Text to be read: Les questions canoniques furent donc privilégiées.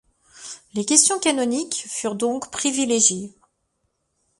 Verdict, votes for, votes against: accepted, 2, 0